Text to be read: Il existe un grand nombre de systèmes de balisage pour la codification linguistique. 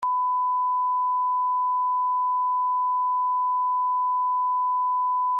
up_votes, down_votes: 0, 2